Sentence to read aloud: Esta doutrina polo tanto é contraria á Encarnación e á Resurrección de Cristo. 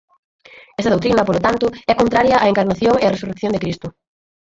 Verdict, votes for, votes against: rejected, 0, 4